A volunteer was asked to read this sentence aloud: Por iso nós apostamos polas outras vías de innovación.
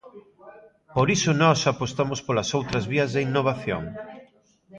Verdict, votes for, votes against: rejected, 1, 2